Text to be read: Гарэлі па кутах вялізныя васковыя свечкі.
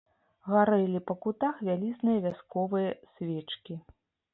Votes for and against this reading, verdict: 1, 2, rejected